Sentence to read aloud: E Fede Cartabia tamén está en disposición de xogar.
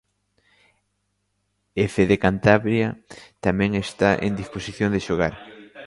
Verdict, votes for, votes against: rejected, 0, 2